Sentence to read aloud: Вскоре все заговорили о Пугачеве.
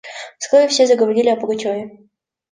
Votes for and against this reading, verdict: 2, 0, accepted